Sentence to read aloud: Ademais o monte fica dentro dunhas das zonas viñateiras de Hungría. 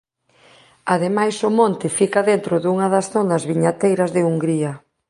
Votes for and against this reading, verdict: 1, 2, rejected